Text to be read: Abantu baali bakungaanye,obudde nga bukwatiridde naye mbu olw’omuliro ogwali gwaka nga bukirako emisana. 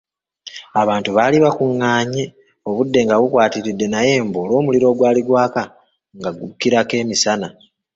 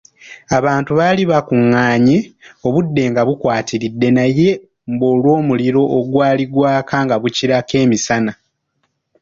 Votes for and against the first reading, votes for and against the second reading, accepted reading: 0, 3, 2, 0, second